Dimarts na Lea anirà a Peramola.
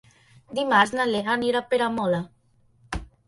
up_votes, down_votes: 2, 0